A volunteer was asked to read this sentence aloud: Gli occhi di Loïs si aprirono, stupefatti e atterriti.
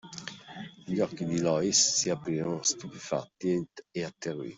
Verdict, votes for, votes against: rejected, 1, 2